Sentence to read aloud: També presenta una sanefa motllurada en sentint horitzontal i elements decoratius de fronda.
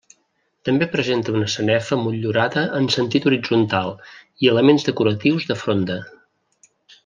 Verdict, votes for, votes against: accepted, 2, 0